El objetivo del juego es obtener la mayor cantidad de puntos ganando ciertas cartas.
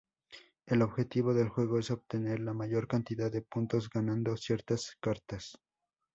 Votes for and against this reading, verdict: 2, 0, accepted